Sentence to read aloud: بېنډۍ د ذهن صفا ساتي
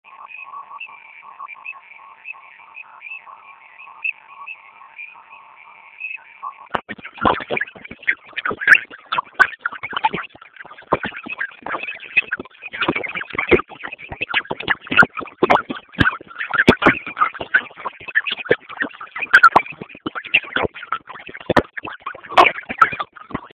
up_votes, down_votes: 1, 2